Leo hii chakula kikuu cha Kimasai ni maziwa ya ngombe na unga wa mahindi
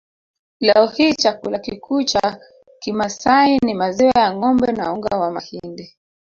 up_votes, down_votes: 1, 2